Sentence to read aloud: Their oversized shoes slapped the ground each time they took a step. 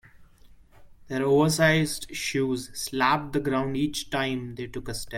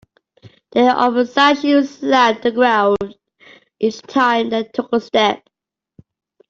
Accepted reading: second